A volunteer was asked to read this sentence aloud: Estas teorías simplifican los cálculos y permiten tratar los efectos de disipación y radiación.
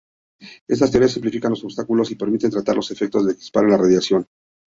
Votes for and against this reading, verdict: 0, 2, rejected